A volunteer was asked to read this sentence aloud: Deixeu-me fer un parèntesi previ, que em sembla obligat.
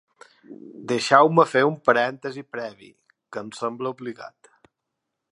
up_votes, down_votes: 2, 0